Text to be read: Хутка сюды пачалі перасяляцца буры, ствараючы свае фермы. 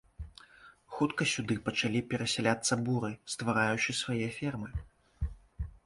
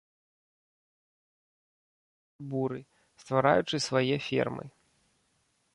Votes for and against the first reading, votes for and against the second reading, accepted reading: 2, 0, 0, 2, first